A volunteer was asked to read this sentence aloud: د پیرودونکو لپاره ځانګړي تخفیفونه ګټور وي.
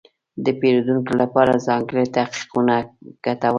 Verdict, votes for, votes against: rejected, 0, 2